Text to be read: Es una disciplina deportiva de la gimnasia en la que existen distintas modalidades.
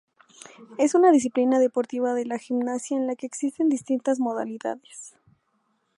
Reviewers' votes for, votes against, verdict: 0, 2, rejected